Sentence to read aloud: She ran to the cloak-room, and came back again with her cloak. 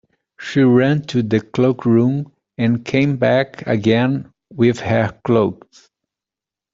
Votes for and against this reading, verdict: 2, 0, accepted